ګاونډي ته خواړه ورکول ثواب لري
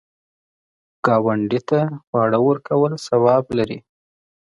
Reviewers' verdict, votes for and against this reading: accepted, 2, 0